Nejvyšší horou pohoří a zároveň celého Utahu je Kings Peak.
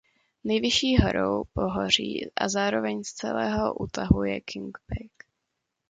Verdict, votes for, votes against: rejected, 1, 2